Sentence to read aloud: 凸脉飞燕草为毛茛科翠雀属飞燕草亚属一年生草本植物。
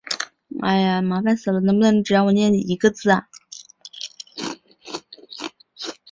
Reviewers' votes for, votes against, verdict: 0, 2, rejected